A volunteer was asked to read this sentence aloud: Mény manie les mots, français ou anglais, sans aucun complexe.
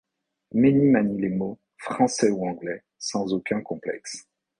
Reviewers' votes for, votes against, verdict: 2, 0, accepted